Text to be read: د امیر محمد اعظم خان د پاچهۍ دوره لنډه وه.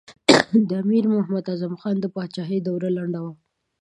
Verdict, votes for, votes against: accepted, 2, 1